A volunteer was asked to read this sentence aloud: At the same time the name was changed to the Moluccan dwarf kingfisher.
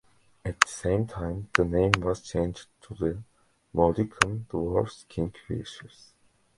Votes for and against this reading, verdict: 0, 2, rejected